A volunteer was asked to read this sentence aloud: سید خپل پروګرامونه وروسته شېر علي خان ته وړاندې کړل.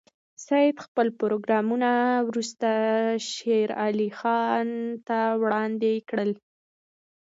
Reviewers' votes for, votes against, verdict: 2, 1, accepted